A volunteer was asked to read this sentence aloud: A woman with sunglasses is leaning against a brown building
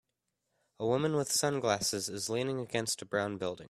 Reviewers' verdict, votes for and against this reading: accepted, 2, 0